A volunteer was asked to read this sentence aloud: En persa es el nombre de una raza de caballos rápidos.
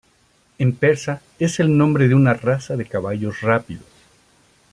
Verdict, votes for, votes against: rejected, 1, 2